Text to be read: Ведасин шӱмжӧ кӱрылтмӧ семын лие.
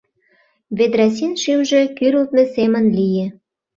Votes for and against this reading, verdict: 0, 2, rejected